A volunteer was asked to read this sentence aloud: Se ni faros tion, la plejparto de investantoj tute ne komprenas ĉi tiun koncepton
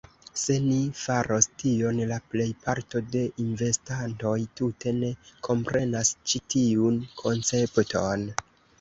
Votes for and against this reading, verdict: 2, 0, accepted